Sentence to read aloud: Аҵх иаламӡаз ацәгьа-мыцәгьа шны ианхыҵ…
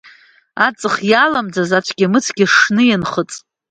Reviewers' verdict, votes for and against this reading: accepted, 2, 0